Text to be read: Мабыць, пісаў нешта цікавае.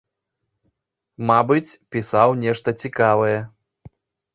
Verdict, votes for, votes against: accepted, 2, 0